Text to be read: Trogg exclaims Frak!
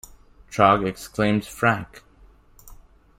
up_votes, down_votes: 1, 2